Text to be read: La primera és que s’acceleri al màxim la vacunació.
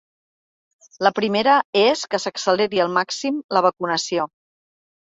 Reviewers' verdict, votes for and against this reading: accepted, 3, 0